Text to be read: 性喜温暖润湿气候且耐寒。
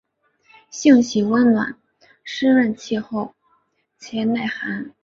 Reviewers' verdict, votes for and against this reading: rejected, 0, 2